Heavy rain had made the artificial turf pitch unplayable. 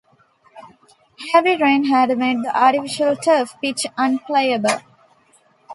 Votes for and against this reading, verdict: 1, 2, rejected